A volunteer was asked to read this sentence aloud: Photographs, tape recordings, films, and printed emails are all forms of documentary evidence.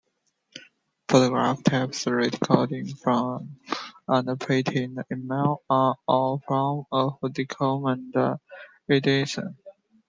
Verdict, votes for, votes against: rejected, 0, 2